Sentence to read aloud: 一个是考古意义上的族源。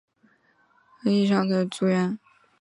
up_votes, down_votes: 0, 3